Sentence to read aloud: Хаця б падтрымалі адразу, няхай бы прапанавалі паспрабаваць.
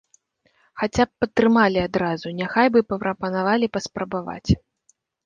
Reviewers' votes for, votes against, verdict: 1, 2, rejected